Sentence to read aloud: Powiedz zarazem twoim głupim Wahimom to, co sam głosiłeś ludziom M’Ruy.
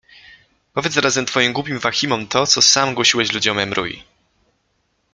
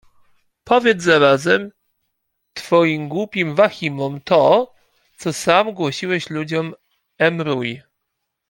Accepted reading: first